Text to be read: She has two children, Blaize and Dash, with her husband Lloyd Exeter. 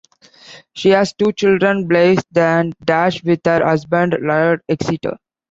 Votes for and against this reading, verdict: 1, 2, rejected